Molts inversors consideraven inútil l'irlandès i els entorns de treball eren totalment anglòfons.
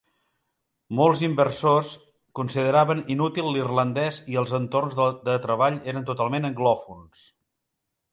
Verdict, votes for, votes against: rejected, 1, 2